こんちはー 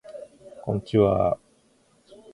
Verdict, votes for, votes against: accepted, 3, 0